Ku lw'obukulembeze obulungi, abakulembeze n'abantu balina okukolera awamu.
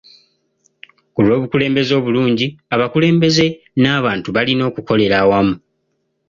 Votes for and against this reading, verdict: 0, 2, rejected